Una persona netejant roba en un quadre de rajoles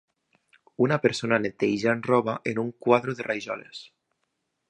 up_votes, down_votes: 0, 2